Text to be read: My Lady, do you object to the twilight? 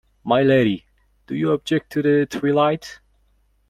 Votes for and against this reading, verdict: 0, 2, rejected